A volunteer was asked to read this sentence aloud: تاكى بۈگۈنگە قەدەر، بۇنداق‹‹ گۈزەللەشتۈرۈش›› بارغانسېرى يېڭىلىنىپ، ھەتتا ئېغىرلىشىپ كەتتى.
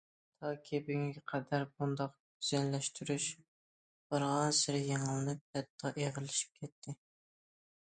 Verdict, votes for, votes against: rejected, 1, 2